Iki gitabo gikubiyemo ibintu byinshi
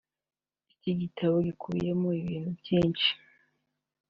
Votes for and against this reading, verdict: 3, 0, accepted